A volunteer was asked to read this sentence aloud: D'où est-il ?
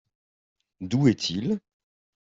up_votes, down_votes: 2, 0